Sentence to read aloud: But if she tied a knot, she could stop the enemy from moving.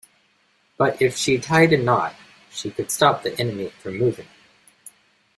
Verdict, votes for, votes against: accepted, 2, 0